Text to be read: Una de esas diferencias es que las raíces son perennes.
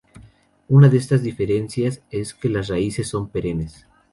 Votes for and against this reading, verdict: 2, 2, rejected